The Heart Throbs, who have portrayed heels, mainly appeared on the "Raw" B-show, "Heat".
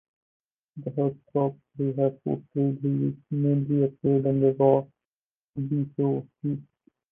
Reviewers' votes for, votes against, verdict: 0, 2, rejected